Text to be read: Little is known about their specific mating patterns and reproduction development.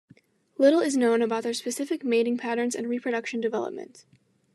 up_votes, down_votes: 2, 1